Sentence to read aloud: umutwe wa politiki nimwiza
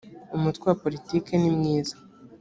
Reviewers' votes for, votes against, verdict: 2, 1, accepted